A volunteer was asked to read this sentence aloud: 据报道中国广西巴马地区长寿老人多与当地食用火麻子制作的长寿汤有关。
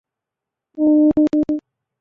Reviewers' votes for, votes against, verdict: 0, 2, rejected